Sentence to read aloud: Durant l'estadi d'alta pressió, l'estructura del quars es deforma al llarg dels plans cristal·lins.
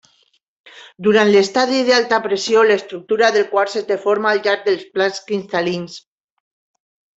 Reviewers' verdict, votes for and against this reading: rejected, 1, 2